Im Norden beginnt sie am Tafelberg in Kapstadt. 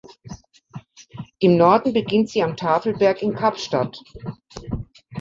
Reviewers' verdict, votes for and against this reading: accepted, 2, 0